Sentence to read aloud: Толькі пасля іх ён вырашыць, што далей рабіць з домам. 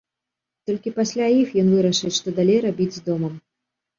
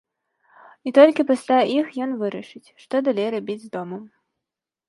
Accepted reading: first